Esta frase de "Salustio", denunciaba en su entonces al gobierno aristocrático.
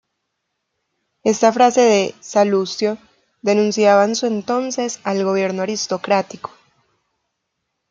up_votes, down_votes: 1, 2